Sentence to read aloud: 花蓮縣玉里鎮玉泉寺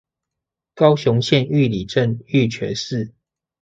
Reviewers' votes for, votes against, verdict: 0, 2, rejected